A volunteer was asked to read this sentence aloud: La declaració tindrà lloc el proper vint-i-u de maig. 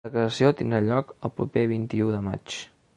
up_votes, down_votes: 1, 2